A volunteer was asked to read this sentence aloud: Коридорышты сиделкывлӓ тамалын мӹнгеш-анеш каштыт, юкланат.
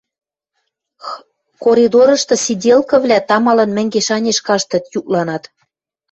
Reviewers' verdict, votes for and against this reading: rejected, 1, 2